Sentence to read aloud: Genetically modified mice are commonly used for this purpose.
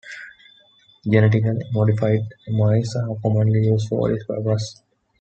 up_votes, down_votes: 2, 0